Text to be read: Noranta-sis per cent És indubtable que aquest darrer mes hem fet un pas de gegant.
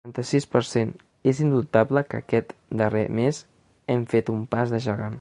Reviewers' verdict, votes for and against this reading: accepted, 2, 0